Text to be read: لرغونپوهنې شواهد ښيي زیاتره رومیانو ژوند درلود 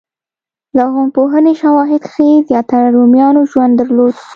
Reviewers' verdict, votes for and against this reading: accepted, 2, 0